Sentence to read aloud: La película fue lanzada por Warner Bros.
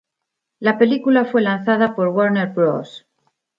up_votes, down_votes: 2, 0